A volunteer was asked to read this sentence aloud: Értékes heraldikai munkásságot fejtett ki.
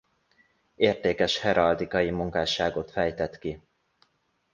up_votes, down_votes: 2, 0